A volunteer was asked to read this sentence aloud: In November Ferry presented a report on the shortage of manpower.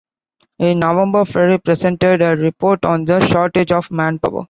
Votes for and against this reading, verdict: 2, 0, accepted